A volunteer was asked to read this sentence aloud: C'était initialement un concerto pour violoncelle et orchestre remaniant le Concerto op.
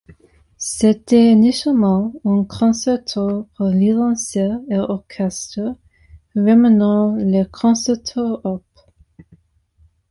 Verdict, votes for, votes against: accepted, 2, 1